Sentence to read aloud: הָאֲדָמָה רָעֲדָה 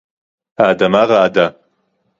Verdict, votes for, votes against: accepted, 2, 0